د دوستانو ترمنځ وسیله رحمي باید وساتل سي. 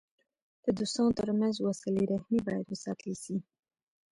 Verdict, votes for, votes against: rejected, 1, 2